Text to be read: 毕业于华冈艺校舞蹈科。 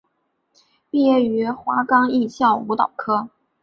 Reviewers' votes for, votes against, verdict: 5, 0, accepted